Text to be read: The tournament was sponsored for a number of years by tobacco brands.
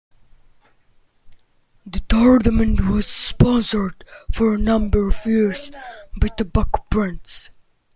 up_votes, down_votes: 0, 2